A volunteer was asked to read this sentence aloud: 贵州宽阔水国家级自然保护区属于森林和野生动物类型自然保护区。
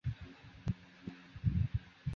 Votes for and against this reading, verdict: 0, 2, rejected